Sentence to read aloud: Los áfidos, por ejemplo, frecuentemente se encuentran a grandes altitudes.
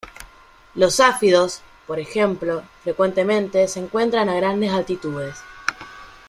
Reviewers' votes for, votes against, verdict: 3, 0, accepted